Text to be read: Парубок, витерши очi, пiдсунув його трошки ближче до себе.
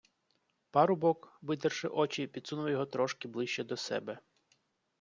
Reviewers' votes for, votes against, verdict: 2, 0, accepted